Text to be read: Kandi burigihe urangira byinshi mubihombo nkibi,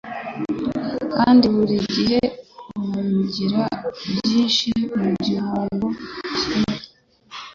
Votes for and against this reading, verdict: 1, 2, rejected